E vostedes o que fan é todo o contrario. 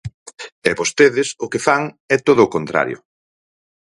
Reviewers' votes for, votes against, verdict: 4, 0, accepted